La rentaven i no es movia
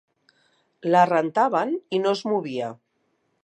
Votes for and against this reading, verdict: 4, 0, accepted